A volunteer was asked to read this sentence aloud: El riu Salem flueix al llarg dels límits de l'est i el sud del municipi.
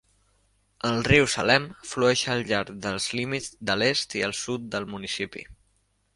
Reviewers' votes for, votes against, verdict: 2, 0, accepted